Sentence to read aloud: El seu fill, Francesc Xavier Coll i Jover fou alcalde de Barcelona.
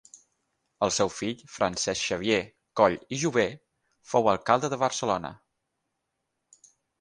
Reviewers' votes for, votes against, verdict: 6, 0, accepted